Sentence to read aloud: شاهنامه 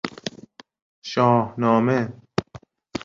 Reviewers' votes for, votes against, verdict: 2, 0, accepted